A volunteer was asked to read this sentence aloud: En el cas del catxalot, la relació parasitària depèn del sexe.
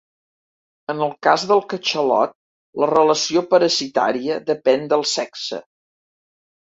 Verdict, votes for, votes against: rejected, 0, 2